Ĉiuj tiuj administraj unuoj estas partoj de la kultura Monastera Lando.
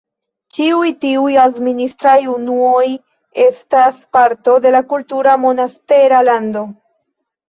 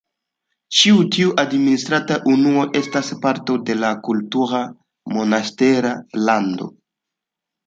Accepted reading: second